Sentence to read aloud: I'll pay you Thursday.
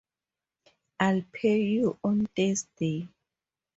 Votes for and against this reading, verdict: 0, 2, rejected